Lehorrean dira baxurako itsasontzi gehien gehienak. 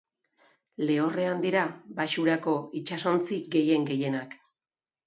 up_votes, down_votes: 3, 0